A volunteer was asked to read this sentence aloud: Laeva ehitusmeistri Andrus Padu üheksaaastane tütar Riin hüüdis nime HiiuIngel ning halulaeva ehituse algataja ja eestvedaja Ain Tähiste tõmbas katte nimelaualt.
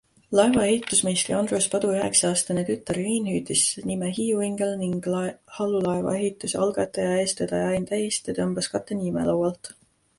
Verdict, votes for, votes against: accepted, 2, 1